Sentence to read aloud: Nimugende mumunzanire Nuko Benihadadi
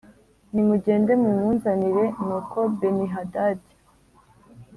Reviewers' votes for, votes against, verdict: 2, 0, accepted